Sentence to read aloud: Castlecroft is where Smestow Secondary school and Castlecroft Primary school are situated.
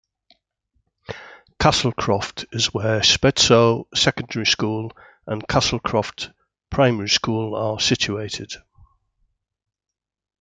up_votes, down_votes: 1, 2